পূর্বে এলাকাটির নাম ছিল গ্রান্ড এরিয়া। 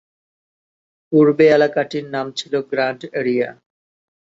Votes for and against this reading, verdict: 3, 0, accepted